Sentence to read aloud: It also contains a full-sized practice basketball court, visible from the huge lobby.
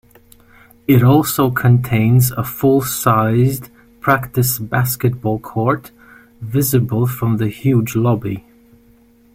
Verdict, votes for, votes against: accepted, 2, 0